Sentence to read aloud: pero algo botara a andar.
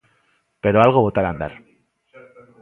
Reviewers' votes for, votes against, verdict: 5, 0, accepted